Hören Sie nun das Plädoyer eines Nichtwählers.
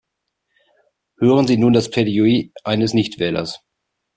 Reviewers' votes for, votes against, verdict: 1, 2, rejected